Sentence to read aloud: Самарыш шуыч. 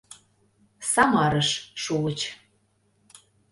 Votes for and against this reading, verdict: 2, 0, accepted